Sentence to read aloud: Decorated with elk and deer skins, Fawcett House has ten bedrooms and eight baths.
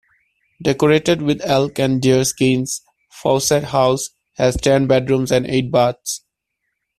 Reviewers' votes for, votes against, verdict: 2, 0, accepted